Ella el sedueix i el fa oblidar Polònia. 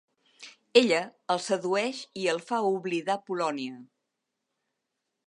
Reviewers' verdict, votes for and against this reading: accepted, 3, 0